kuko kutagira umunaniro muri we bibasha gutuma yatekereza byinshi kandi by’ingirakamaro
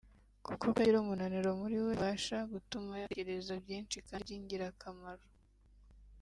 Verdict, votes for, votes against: rejected, 1, 2